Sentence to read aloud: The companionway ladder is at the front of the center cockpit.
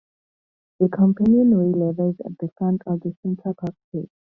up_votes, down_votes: 0, 2